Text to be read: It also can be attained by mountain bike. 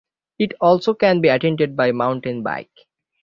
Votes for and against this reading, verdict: 3, 6, rejected